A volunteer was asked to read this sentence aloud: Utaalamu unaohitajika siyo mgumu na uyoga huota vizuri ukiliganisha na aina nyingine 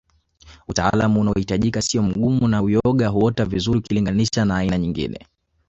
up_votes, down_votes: 2, 0